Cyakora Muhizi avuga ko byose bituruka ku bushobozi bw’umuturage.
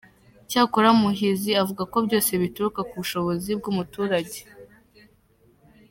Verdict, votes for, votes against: accepted, 2, 0